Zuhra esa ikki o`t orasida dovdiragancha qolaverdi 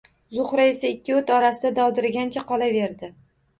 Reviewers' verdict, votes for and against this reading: accepted, 2, 0